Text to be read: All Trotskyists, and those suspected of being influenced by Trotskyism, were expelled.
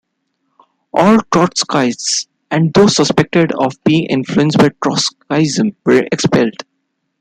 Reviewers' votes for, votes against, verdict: 2, 0, accepted